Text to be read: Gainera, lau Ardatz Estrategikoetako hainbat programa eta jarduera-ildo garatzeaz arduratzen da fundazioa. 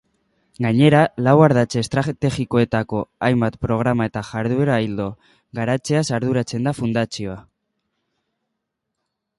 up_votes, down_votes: 0, 2